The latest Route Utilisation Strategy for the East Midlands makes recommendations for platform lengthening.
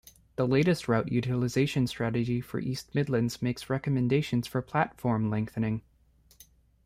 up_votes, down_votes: 2, 1